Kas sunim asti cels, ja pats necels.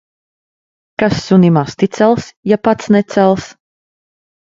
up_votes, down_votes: 1, 2